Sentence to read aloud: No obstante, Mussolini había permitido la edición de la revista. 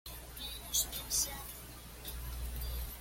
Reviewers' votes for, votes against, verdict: 1, 2, rejected